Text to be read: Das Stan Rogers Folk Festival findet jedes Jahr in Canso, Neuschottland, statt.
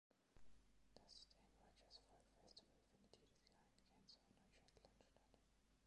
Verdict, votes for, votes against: rejected, 0, 2